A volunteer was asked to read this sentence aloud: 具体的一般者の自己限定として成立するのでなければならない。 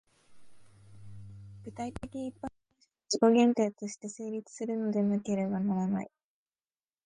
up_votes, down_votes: 0, 2